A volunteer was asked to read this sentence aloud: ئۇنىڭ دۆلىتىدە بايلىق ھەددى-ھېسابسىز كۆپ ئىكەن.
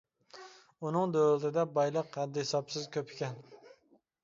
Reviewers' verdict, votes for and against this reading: accepted, 2, 1